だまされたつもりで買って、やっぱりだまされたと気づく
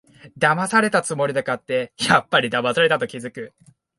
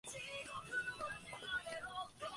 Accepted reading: first